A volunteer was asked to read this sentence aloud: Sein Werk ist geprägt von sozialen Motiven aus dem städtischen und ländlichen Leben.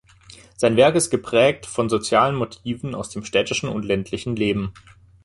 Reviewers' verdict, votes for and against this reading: accepted, 2, 0